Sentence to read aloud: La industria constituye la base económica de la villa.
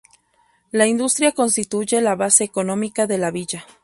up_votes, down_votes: 4, 0